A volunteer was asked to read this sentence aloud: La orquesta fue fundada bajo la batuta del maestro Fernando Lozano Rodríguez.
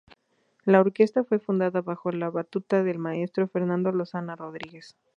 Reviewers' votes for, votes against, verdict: 0, 2, rejected